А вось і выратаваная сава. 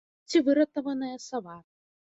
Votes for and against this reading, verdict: 1, 2, rejected